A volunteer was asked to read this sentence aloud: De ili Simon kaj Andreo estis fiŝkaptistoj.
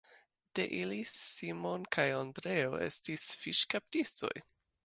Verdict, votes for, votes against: rejected, 1, 2